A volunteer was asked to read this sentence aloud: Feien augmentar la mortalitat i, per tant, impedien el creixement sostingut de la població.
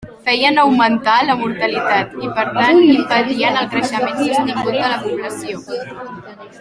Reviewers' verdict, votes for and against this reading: rejected, 0, 2